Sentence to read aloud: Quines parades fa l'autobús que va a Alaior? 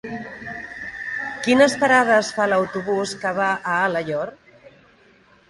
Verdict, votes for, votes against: rejected, 0, 2